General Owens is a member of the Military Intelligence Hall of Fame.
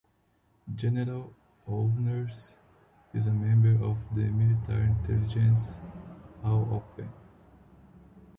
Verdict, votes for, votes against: rejected, 0, 2